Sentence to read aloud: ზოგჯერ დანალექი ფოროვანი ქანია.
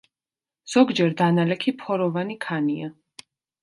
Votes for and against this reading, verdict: 2, 0, accepted